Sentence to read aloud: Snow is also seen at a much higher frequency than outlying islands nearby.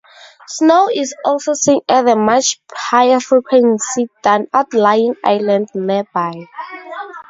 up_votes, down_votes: 0, 2